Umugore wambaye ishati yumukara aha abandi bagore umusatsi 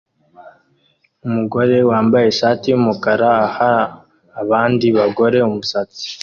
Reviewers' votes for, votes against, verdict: 2, 0, accepted